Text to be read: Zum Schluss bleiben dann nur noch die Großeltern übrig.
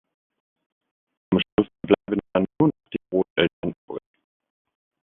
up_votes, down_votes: 0, 2